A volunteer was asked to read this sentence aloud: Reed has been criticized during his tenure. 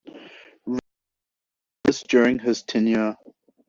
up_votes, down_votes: 0, 2